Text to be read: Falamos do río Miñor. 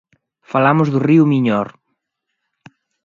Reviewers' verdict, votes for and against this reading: accepted, 2, 0